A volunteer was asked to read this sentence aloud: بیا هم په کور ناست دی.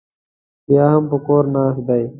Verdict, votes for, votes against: accepted, 2, 0